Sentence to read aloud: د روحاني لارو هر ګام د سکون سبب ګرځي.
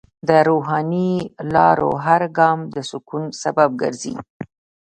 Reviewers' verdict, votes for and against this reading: accepted, 2, 0